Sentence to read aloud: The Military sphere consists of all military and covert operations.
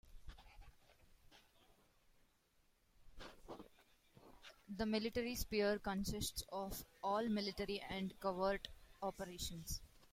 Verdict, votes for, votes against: accepted, 2, 1